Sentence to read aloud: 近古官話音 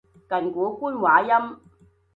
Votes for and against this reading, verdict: 2, 0, accepted